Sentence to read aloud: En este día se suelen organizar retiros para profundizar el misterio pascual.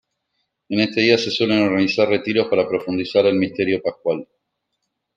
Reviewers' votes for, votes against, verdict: 1, 2, rejected